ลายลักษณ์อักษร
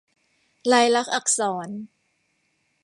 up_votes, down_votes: 2, 0